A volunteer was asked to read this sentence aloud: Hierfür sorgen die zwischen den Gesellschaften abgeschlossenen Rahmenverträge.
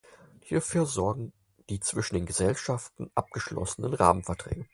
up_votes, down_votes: 4, 0